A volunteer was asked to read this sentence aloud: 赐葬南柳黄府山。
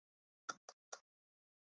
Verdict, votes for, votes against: rejected, 0, 2